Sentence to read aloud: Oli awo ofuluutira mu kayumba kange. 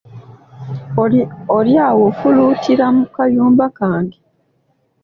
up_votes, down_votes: 2, 0